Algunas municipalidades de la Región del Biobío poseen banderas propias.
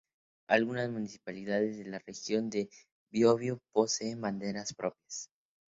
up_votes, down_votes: 4, 0